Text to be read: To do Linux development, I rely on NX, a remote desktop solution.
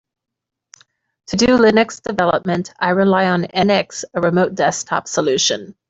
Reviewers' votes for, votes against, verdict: 2, 0, accepted